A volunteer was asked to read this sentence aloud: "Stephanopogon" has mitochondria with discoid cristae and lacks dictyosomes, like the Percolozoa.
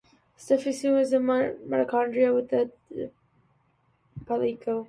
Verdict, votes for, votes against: rejected, 0, 2